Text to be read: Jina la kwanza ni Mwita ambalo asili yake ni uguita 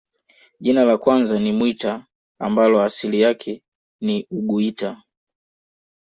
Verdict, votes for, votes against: accepted, 2, 0